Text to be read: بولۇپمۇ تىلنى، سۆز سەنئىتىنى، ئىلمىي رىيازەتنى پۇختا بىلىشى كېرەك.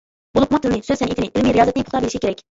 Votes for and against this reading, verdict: 0, 2, rejected